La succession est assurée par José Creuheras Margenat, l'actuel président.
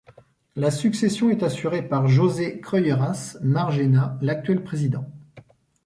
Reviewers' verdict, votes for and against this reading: rejected, 0, 2